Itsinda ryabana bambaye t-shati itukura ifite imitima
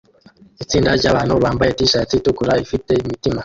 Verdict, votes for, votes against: rejected, 1, 2